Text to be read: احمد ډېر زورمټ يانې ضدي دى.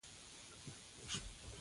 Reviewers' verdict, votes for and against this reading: rejected, 1, 2